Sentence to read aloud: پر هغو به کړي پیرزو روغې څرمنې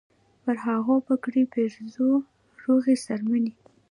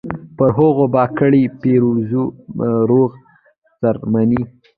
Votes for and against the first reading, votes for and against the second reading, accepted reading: 0, 2, 2, 0, second